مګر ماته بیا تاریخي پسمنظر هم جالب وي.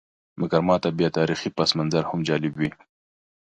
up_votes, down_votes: 2, 0